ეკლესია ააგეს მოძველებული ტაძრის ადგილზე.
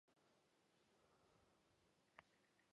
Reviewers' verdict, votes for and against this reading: rejected, 1, 2